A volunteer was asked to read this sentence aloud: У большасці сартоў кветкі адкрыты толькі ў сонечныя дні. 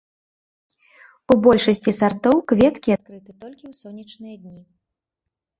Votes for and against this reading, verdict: 2, 0, accepted